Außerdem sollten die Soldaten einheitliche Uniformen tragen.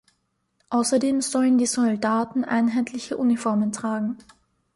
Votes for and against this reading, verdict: 0, 2, rejected